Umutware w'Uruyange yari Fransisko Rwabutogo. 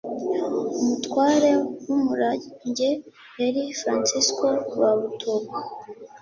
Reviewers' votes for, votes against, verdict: 1, 2, rejected